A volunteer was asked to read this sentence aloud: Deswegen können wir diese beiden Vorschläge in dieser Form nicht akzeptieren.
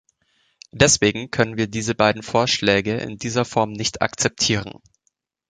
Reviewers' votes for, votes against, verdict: 2, 0, accepted